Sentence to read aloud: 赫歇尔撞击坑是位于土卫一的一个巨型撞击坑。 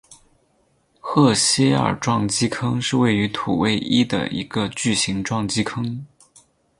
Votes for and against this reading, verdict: 2, 0, accepted